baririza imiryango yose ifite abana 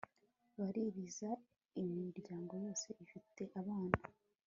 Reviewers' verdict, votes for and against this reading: accepted, 2, 1